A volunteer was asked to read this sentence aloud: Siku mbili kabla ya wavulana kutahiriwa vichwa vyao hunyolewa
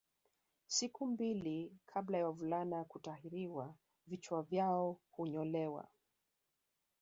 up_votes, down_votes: 2, 3